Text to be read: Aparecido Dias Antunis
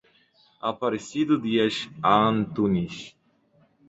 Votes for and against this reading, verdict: 2, 0, accepted